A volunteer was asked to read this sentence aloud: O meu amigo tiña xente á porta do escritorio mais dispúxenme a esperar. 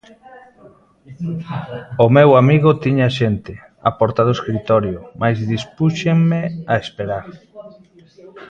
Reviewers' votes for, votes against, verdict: 0, 2, rejected